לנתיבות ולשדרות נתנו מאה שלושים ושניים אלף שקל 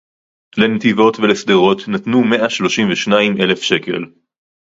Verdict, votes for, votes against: accepted, 4, 0